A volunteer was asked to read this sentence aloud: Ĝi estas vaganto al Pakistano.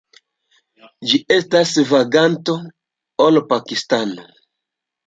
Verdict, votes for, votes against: rejected, 1, 2